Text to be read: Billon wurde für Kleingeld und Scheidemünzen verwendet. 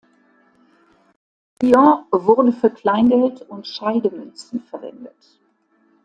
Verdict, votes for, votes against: rejected, 1, 2